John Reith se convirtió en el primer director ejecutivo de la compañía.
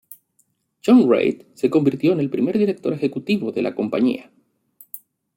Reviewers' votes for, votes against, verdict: 2, 0, accepted